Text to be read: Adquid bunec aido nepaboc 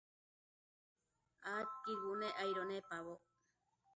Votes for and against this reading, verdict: 0, 2, rejected